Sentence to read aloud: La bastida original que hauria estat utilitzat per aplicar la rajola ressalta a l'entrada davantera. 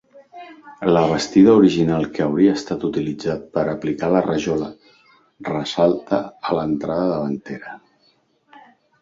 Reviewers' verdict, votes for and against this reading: accepted, 2, 0